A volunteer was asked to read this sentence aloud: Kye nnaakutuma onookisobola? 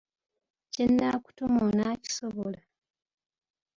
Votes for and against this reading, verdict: 0, 2, rejected